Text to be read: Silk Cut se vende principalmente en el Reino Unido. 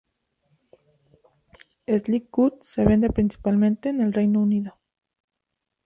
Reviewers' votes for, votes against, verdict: 0, 2, rejected